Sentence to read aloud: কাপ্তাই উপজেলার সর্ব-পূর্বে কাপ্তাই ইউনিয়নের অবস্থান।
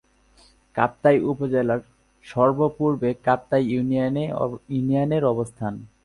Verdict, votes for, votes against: rejected, 3, 8